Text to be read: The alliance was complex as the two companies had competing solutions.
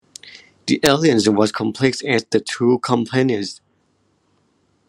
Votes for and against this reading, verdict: 0, 2, rejected